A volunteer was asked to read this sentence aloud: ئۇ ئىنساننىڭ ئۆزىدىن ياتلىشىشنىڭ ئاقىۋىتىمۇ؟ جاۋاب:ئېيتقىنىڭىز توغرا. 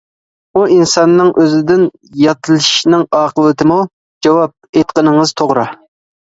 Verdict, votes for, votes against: accepted, 2, 0